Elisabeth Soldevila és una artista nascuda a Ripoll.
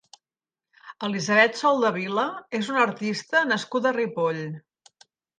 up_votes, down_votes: 2, 0